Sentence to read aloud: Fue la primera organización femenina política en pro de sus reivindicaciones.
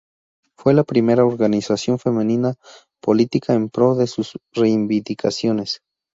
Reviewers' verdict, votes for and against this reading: rejected, 2, 2